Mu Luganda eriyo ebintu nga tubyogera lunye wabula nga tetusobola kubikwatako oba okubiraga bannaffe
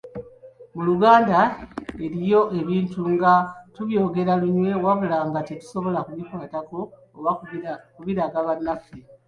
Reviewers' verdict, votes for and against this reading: accepted, 3, 0